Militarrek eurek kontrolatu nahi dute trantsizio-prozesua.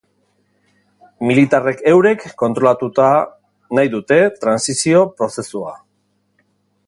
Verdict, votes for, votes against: rejected, 0, 2